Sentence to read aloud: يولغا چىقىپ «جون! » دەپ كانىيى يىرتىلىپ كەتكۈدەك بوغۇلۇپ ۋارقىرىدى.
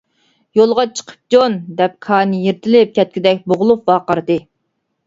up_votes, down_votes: 1, 2